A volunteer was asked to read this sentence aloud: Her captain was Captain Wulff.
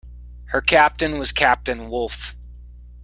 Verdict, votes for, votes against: accepted, 2, 0